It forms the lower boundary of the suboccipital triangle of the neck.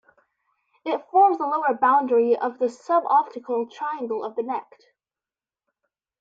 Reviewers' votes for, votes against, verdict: 0, 2, rejected